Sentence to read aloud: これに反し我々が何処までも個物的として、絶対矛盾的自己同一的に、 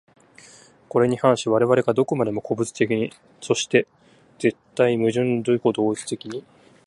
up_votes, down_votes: 0, 2